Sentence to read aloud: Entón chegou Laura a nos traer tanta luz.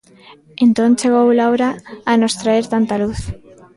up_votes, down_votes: 1, 2